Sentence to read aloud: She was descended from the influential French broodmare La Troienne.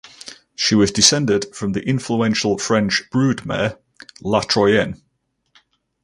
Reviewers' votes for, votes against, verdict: 4, 0, accepted